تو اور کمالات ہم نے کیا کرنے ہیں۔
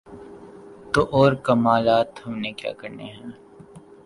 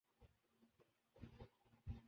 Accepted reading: first